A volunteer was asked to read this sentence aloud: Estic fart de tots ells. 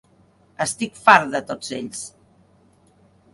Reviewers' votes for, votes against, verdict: 2, 0, accepted